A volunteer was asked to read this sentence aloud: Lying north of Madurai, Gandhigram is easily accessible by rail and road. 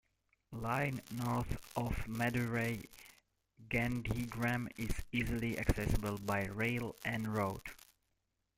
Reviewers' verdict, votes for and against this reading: rejected, 0, 2